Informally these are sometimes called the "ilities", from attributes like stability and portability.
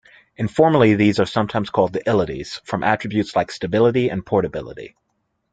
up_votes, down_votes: 2, 0